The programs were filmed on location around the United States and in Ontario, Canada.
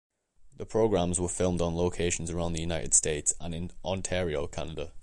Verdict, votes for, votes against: rejected, 1, 2